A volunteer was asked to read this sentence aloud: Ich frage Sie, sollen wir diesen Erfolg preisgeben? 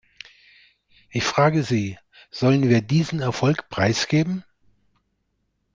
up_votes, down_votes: 2, 0